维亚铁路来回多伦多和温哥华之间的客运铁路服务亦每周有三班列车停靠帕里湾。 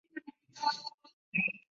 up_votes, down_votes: 0, 2